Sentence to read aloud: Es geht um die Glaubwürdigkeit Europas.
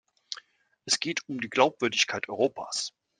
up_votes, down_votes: 3, 0